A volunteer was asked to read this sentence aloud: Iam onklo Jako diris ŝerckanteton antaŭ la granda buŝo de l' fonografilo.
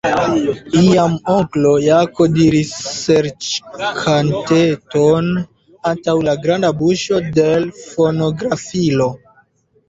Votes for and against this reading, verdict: 2, 0, accepted